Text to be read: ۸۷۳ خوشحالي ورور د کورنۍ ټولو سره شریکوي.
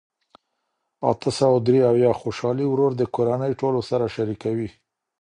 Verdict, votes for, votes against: rejected, 0, 2